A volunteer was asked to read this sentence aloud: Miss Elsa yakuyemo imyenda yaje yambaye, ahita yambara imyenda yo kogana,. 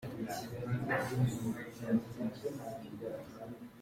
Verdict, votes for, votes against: rejected, 0, 2